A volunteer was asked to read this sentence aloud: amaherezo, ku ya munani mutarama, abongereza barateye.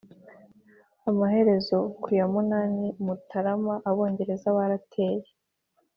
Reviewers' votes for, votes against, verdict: 4, 0, accepted